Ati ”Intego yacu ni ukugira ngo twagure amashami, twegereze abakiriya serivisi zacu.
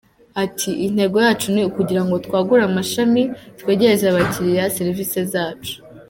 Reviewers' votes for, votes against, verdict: 2, 0, accepted